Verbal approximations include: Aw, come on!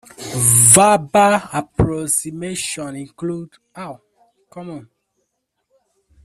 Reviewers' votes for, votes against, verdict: 1, 2, rejected